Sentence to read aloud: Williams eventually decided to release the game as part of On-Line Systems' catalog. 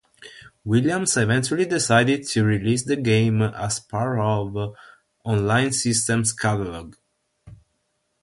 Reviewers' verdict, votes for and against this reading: accepted, 3, 0